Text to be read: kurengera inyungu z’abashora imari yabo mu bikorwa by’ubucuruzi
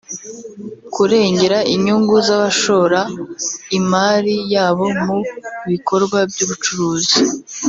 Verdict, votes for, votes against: rejected, 1, 2